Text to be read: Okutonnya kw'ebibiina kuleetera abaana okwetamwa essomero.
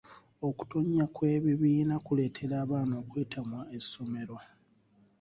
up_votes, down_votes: 2, 0